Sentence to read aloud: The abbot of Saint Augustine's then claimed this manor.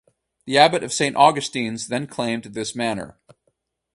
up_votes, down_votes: 4, 0